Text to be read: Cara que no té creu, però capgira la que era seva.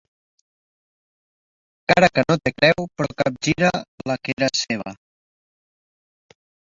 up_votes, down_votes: 3, 0